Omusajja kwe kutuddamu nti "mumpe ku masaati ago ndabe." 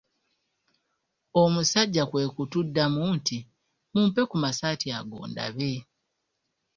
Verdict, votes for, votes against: accepted, 2, 0